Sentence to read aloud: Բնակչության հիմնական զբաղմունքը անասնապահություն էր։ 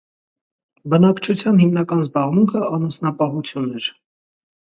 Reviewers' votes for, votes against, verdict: 1, 2, rejected